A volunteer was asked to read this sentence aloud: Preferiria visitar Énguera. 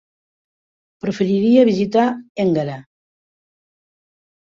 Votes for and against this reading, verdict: 2, 0, accepted